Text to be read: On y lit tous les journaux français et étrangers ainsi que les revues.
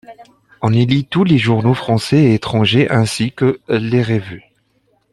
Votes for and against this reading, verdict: 0, 2, rejected